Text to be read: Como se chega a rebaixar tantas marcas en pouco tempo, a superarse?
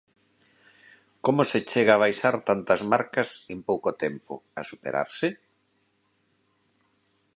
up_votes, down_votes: 1, 2